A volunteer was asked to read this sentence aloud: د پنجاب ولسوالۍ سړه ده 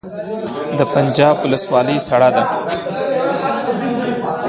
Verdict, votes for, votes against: accepted, 3, 0